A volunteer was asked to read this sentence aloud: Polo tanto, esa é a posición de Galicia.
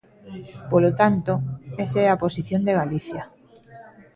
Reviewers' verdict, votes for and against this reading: accepted, 2, 0